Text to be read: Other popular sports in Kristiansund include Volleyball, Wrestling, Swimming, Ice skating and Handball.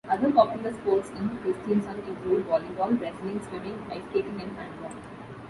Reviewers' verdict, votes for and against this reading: rejected, 0, 2